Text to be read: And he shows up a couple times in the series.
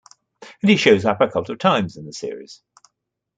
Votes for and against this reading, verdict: 1, 2, rejected